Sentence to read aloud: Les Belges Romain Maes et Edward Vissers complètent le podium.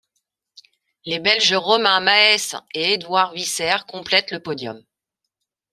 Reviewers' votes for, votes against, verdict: 2, 0, accepted